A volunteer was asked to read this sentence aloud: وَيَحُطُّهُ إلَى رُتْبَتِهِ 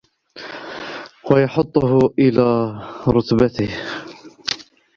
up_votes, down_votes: 0, 2